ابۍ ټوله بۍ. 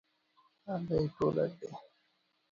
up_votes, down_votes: 1, 2